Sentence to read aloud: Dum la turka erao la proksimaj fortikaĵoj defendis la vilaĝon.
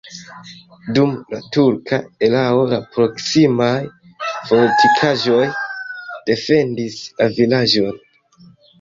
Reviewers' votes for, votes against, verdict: 1, 2, rejected